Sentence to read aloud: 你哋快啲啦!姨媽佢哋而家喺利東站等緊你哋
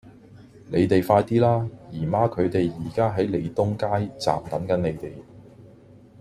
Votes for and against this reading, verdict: 1, 2, rejected